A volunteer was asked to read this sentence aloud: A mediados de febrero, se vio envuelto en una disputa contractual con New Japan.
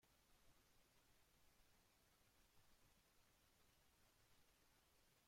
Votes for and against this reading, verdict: 0, 2, rejected